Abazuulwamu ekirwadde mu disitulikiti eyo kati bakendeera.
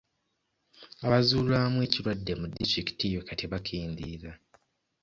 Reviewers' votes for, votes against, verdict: 2, 0, accepted